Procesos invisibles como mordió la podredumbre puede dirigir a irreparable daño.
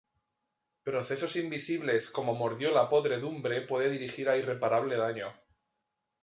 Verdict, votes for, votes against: rejected, 0, 2